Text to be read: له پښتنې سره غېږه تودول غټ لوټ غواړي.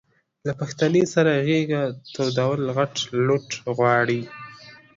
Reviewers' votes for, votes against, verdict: 2, 1, accepted